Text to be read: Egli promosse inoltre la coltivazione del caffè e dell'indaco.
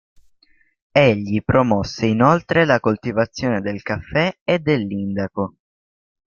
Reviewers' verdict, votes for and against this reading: accepted, 2, 0